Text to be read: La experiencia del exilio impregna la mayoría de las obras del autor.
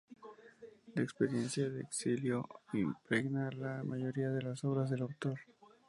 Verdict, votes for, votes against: rejected, 0, 2